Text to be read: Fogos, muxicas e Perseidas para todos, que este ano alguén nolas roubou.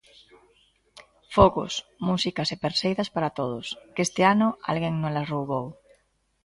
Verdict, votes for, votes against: rejected, 1, 3